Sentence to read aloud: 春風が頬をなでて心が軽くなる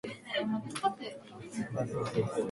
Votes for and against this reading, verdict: 0, 2, rejected